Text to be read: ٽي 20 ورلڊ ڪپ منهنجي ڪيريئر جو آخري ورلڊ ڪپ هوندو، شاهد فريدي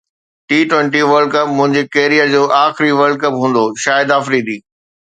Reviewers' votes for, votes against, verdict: 0, 2, rejected